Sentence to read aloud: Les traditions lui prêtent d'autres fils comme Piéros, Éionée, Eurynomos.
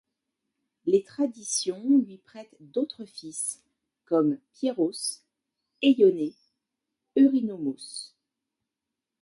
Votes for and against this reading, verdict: 2, 0, accepted